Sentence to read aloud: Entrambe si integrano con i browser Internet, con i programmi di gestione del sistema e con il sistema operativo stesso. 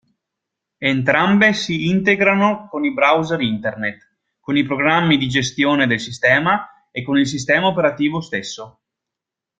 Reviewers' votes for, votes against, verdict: 2, 0, accepted